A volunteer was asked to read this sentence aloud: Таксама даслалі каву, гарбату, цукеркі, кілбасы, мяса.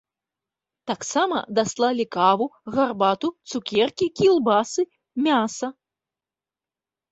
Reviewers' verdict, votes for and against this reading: accepted, 2, 0